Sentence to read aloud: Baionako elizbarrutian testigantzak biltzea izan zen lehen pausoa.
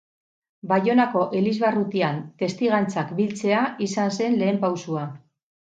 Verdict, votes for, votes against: rejected, 2, 2